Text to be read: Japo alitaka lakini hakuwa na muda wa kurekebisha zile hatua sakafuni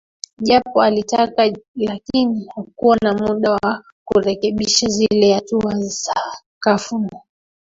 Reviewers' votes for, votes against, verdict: 1, 3, rejected